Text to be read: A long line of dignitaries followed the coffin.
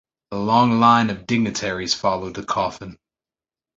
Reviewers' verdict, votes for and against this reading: accepted, 2, 0